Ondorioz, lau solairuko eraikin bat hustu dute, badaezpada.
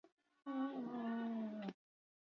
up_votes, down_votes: 0, 4